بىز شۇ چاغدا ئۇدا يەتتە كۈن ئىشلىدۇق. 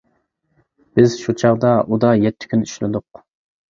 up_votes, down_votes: 2, 0